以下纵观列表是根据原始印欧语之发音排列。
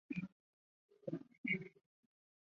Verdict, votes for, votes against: rejected, 1, 3